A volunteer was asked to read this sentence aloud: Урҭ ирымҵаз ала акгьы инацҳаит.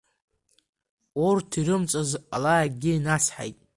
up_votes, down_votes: 2, 1